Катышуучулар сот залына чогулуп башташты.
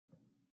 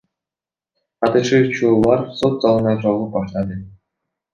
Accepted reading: second